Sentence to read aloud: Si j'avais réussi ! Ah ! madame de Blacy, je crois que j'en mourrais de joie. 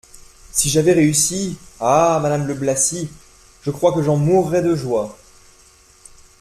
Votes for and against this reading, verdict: 2, 0, accepted